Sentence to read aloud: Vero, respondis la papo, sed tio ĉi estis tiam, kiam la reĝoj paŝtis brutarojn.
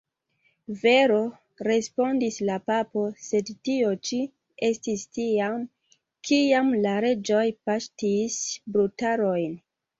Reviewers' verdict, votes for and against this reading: accepted, 3, 0